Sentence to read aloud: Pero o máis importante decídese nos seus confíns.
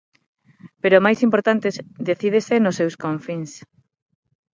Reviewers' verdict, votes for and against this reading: accepted, 6, 3